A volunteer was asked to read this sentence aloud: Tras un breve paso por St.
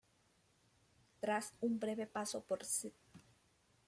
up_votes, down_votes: 2, 1